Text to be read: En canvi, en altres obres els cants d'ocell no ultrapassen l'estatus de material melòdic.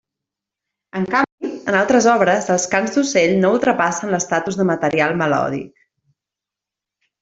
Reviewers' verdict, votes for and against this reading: rejected, 1, 2